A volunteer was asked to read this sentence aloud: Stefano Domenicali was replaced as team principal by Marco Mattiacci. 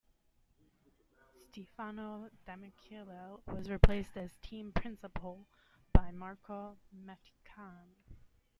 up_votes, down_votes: 0, 2